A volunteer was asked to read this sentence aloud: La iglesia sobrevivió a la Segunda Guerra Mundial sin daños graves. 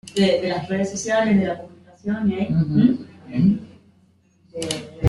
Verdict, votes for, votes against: rejected, 0, 2